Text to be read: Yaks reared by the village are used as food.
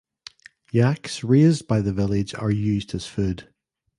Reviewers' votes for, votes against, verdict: 0, 2, rejected